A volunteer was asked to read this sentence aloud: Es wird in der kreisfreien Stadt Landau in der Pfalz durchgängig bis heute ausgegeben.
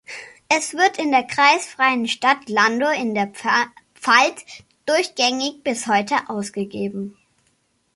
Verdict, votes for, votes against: rejected, 0, 2